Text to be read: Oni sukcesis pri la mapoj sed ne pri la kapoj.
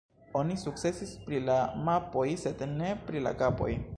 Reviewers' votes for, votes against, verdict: 2, 1, accepted